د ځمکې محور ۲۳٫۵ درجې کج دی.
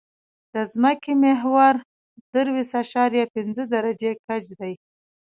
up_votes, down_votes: 0, 2